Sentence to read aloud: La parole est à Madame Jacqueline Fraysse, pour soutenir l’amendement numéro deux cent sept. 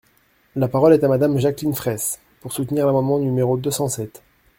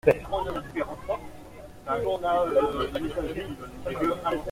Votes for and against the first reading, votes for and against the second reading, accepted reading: 2, 0, 0, 2, first